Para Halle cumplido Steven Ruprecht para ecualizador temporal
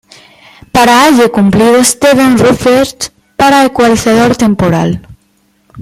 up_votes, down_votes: 2, 0